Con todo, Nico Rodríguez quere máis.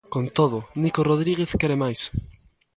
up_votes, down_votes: 2, 0